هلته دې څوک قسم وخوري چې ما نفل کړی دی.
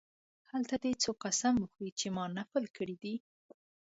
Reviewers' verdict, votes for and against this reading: accepted, 2, 0